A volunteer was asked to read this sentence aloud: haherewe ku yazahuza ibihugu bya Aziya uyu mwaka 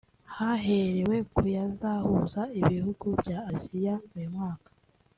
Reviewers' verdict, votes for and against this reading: rejected, 1, 2